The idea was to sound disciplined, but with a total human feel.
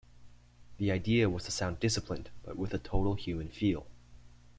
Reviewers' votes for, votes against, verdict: 2, 0, accepted